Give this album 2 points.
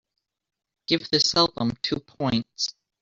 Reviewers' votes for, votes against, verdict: 0, 2, rejected